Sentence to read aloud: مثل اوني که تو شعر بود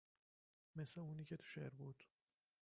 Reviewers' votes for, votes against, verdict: 1, 2, rejected